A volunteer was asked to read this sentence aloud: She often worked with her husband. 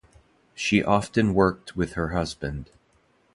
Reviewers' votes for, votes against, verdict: 2, 0, accepted